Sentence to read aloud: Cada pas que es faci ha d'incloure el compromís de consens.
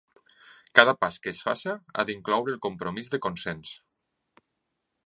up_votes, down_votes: 2, 0